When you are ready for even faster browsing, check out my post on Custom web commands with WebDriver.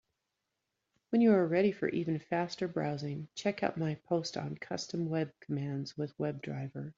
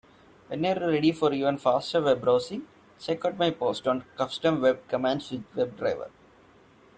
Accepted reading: first